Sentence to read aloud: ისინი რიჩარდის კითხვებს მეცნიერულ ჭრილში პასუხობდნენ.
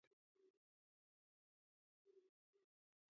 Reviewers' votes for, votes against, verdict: 0, 2, rejected